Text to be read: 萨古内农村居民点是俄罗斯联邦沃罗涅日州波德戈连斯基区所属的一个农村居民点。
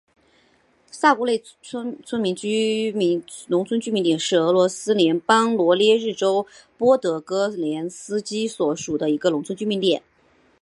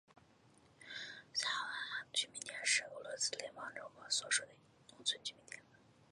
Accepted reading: second